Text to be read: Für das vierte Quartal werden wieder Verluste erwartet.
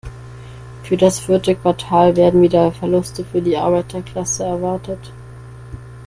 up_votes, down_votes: 0, 2